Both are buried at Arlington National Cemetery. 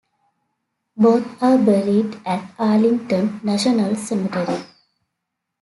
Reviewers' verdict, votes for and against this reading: accepted, 2, 1